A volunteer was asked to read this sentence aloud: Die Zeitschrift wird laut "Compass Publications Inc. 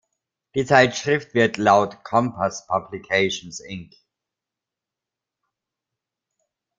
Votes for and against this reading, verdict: 2, 0, accepted